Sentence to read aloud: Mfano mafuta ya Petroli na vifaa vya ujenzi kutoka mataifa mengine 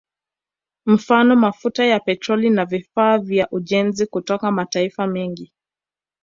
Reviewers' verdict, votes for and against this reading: rejected, 1, 2